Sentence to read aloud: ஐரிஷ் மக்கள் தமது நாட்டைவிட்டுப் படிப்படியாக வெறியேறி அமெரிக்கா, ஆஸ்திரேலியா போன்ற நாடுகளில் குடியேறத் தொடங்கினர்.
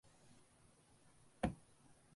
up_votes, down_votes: 0, 2